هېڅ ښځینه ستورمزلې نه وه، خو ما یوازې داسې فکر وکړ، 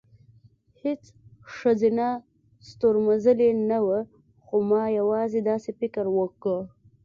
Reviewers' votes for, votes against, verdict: 2, 0, accepted